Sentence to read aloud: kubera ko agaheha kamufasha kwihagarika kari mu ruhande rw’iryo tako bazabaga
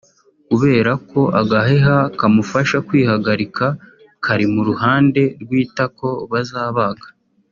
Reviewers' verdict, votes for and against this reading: rejected, 0, 2